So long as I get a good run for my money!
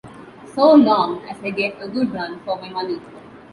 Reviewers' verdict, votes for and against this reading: accepted, 2, 0